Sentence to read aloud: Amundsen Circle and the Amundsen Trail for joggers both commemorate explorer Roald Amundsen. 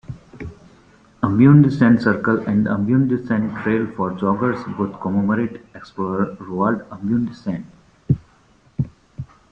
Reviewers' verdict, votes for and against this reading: rejected, 1, 2